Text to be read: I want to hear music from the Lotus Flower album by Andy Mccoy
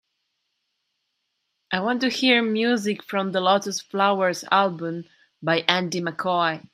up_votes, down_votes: 0, 2